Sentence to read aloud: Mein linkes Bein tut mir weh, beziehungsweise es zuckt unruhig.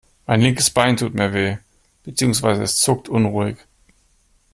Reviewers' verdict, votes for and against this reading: accepted, 2, 0